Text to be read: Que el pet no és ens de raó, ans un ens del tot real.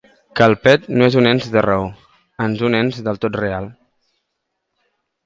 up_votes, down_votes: 2, 1